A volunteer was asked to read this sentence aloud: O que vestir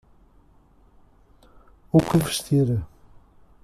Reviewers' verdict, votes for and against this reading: rejected, 1, 2